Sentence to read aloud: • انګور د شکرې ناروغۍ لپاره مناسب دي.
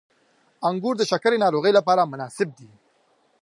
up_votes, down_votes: 2, 0